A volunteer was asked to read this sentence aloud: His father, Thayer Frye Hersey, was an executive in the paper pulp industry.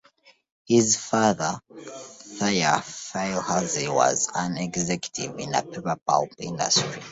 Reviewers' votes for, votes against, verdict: 0, 2, rejected